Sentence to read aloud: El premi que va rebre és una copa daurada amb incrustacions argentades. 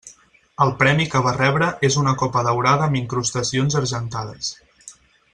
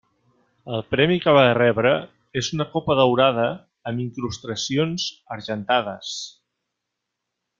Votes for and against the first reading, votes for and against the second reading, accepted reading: 6, 0, 2, 3, first